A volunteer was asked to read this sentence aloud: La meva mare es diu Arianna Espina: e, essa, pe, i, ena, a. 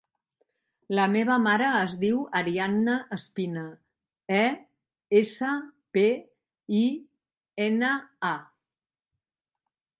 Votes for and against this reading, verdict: 3, 0, accepted